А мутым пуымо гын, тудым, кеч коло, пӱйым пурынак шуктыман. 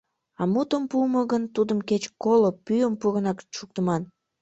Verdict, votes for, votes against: rejected, 1, 2